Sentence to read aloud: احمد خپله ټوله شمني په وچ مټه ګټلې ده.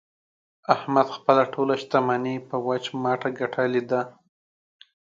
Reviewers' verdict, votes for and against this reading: accepted, 2, 0